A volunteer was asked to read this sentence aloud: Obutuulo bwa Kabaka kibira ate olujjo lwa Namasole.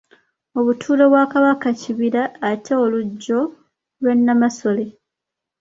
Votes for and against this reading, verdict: 2, 0, accepted